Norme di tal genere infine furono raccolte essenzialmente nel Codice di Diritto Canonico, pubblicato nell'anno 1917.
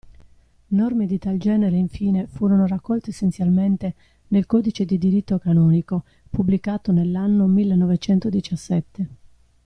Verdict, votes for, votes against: rejected, 0, 2